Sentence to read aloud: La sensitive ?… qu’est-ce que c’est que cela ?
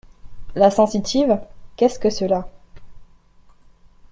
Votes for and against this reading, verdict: 1, 2, rejected